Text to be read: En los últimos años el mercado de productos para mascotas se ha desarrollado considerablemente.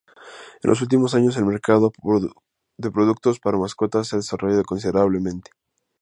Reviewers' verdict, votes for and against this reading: rejected, 0, 4